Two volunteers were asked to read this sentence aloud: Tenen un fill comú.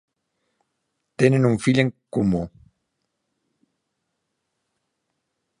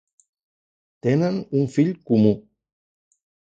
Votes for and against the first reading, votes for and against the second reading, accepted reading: 1, 2, 3, 0, second